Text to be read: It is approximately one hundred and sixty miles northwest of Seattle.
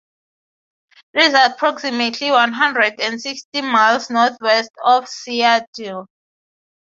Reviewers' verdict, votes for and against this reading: rejected, 3, 6